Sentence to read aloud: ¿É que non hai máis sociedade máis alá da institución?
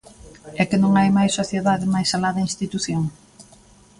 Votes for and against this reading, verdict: 2, 0, accepted